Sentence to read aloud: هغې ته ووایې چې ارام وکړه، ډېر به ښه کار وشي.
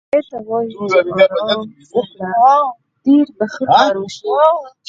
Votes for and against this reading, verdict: 2, 4, rejected